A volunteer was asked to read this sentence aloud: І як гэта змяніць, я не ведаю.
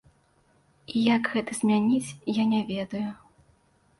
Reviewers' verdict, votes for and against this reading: accepted, 2, 0